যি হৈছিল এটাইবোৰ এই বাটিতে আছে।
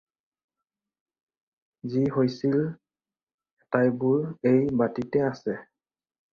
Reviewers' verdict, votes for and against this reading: rejected, 2, 4